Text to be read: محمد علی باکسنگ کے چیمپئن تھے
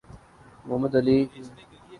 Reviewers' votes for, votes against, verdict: 0, 2, rejected